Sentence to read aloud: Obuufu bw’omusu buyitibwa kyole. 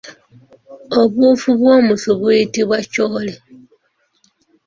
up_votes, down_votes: 2, 1